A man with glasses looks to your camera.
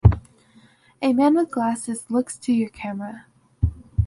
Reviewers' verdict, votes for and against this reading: accepted, 2, 0